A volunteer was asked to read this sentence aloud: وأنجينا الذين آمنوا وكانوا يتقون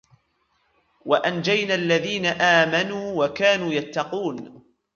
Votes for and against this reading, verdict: 0, 2, rejected